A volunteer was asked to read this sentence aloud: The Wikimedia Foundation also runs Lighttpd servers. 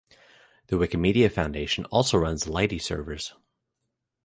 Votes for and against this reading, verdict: 1, 2, rejected